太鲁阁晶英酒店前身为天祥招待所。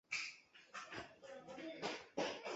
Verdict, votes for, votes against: rejected, 0, 2